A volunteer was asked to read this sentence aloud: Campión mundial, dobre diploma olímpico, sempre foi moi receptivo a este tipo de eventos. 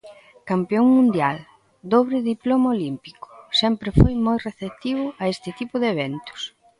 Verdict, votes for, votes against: accepted, 2, 0